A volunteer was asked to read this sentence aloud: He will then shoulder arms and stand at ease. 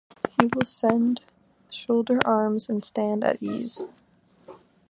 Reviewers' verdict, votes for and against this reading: rejected, 0, 2